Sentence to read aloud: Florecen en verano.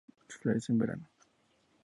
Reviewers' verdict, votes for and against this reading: accepted, 2, 0